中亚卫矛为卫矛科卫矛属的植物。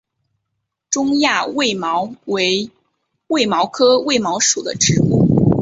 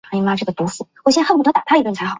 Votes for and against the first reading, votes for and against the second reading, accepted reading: 2, 0, 1, 2, first